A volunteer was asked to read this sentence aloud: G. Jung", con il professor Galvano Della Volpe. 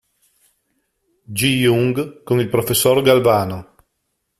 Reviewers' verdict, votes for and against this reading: rejected, 0, 2